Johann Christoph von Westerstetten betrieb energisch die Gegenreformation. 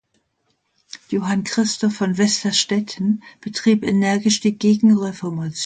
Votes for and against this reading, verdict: 0, 2, rejected